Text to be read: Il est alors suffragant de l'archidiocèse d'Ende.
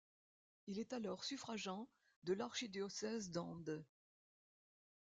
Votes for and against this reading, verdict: 0, 2, rejected